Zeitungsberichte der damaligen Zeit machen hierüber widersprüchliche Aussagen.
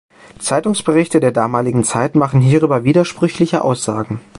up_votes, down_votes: 2, 0